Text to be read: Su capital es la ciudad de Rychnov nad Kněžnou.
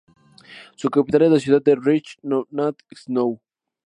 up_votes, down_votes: 0, 2